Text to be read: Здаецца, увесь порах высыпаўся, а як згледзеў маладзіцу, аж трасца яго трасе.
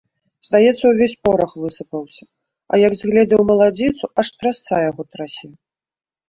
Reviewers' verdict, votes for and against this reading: accepted, 3, 1